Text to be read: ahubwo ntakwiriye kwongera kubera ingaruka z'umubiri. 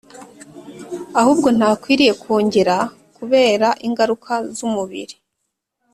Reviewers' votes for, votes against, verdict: 3, 0, accepted